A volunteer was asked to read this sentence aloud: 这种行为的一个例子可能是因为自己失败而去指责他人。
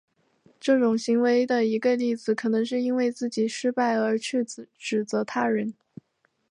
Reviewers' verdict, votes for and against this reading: accepted, 5, 0